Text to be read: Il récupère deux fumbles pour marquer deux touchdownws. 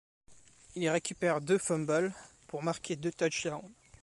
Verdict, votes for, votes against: rejected, 1, 2